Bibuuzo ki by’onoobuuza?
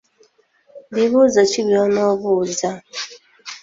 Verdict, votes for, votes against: accepted, 2, 1